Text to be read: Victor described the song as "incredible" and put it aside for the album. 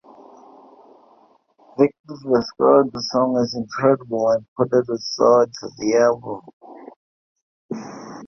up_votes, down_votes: 2, 1